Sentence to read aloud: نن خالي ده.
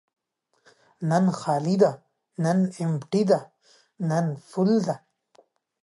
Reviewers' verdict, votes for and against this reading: rejected, 0, 2